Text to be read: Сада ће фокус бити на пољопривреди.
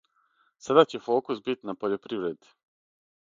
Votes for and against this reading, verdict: 3, 3, rejected